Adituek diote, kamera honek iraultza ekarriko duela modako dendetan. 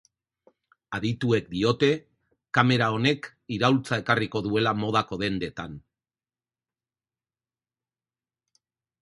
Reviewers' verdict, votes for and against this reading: accepted, 4, 0